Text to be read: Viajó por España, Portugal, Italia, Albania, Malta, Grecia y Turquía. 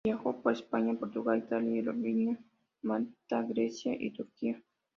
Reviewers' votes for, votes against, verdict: 2, 0, accepted